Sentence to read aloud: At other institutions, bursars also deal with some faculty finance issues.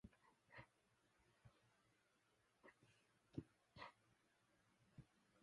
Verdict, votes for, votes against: rejected, 0, 2